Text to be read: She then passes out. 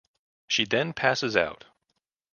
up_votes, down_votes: 2, 0